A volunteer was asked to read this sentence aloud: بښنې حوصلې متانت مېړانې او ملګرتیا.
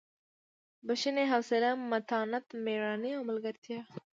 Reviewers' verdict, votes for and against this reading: accepted, 2, 0